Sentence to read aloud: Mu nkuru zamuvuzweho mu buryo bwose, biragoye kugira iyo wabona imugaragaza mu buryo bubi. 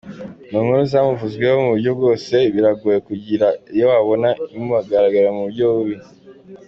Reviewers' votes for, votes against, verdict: 2, 1, accepted